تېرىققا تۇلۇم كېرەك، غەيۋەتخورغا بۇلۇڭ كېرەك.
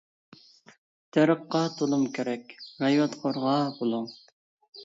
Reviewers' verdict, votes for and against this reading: rejected, 0, 2